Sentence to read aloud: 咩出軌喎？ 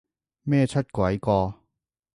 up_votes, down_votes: 0, 2